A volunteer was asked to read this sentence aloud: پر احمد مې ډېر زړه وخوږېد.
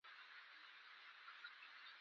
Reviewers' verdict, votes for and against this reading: rejected, 0, 2